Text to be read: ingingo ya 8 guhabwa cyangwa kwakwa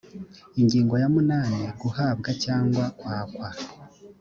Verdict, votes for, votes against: rejected, 0, 2